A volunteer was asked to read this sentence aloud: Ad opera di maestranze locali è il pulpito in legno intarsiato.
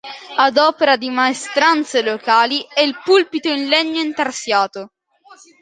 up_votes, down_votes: 2, 0